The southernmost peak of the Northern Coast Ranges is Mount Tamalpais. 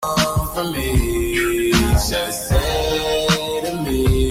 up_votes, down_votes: 0, 2